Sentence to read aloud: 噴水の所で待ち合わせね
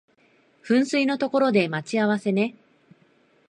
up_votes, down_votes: 2, 0